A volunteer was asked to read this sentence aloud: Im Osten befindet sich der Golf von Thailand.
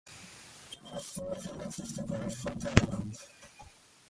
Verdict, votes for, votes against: rejected, 0, 2